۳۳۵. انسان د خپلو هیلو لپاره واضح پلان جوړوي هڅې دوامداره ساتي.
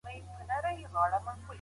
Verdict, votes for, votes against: rejected, 0, 2